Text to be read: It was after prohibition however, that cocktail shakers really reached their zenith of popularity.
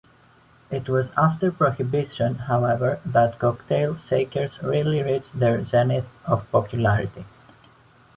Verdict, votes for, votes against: rejected, 1, 2